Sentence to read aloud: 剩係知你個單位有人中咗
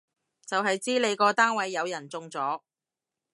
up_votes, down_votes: 0, 2